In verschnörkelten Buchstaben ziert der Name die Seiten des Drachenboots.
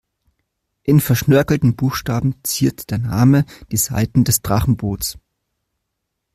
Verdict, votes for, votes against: accepted, 2, 0